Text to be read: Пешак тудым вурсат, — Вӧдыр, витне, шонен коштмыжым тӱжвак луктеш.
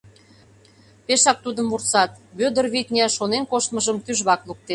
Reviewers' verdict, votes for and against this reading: rejected, 0, 2